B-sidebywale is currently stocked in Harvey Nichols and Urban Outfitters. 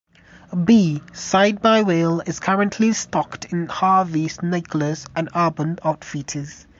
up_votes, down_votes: 1, 2